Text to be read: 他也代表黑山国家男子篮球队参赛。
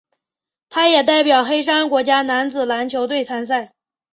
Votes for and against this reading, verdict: 3, 0, accepted